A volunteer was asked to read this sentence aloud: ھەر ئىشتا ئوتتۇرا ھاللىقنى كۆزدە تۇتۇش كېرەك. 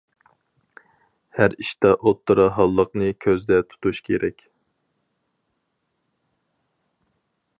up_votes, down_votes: 4, 0